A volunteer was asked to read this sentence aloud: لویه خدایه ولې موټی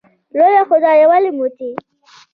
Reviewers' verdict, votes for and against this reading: accepted, 2, 0